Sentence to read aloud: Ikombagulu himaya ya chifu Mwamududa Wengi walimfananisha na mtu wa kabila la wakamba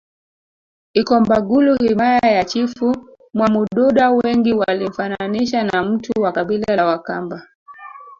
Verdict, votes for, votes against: rejected, 0, 2